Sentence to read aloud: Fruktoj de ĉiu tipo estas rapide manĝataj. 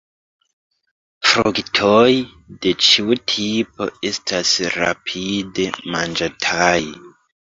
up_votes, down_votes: 1, 2